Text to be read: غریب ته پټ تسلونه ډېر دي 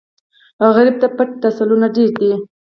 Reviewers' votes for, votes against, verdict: 0, 4, rejected